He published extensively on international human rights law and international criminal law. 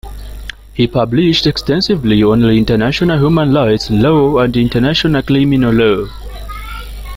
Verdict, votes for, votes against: accepted, 2, 1